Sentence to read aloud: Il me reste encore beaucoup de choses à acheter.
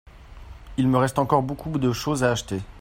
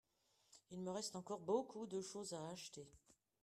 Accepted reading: second